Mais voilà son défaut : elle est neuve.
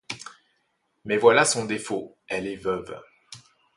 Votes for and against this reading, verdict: 1, 2, rejected